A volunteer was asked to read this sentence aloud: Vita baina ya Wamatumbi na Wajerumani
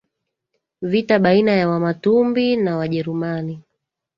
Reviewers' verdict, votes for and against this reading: accepted, 2, 0